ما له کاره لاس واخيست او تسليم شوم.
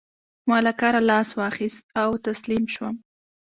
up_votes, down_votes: 3, 0